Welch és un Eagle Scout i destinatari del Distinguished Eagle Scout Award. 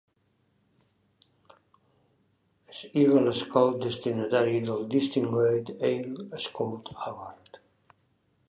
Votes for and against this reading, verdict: 1, 2, rejected